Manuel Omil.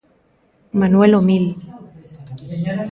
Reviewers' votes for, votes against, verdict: 2, 1, accepted